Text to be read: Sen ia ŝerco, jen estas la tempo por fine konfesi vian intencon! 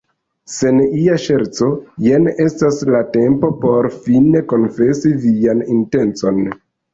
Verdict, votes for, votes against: rejected, 1, 2